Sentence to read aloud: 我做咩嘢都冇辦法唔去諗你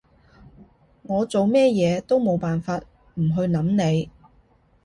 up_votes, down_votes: 2, 0